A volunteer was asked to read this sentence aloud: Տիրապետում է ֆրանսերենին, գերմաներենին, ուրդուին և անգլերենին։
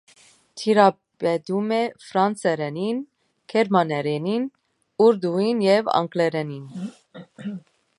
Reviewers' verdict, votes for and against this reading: accepted, 2, 0